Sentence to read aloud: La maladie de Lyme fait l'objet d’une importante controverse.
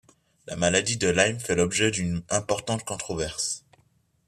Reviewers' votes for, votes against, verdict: 2, 0, accepted